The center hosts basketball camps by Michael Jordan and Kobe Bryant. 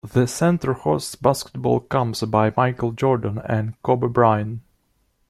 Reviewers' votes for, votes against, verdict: 2, 0, accepted